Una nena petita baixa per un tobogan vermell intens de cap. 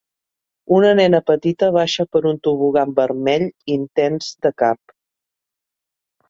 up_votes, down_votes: 3, 0